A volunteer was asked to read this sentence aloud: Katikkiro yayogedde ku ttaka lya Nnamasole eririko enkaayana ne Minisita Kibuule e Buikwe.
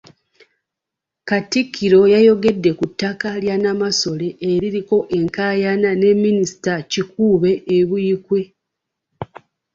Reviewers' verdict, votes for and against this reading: rejected, 0, 2